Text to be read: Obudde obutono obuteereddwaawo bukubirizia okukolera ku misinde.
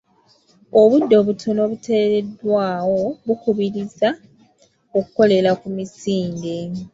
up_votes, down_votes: 2, 1